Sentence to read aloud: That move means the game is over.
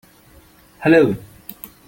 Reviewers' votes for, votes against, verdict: 0, 2, rejected